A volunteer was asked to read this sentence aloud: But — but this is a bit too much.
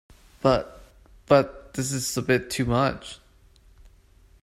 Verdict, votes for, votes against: accepted, 2, 0